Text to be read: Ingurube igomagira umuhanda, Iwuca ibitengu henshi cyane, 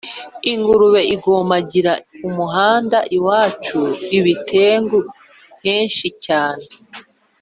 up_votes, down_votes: 1, 2